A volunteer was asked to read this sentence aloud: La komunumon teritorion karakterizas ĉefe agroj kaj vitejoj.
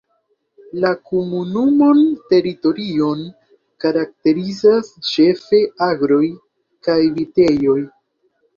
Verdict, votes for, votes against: accepted, 2, 0